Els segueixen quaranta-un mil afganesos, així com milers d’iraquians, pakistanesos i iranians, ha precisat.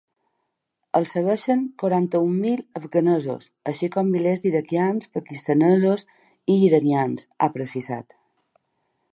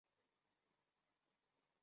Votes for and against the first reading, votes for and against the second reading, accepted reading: 2, 0, 0, 2, first